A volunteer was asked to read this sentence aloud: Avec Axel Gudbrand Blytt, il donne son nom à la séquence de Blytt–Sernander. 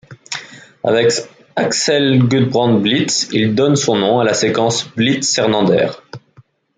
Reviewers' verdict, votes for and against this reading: rejected, 0, 2